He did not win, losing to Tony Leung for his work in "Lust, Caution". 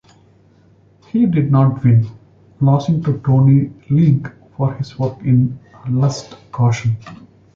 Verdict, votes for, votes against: rejected, 1, 2